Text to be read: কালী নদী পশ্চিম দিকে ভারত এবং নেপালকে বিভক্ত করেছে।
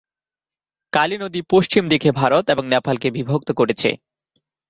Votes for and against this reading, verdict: 2, 1, accepted